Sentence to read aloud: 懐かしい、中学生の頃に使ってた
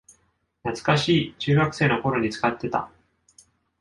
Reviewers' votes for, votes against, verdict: 2, 0, accepted